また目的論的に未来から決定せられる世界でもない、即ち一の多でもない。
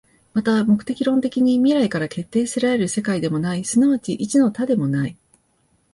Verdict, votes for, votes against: accepted, 2, 1